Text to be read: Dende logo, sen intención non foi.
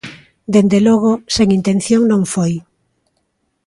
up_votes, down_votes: 3, 0